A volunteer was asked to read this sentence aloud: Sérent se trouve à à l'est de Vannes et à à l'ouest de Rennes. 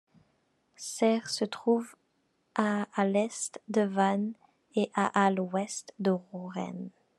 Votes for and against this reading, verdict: 0, 2, rejected